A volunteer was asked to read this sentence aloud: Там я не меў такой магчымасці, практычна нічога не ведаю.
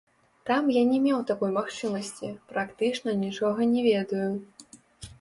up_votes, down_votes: 1, 2